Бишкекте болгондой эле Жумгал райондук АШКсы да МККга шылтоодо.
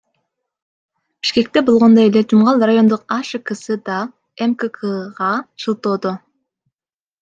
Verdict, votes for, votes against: accepted, 2, 0